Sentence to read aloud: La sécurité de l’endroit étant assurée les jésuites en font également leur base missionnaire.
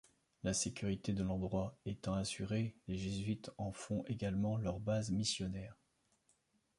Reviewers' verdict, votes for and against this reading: accepted, 2, 1